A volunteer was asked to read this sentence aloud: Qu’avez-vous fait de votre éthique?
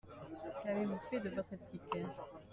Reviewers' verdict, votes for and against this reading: rejected, 1, 2